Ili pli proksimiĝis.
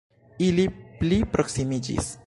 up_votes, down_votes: 0, 2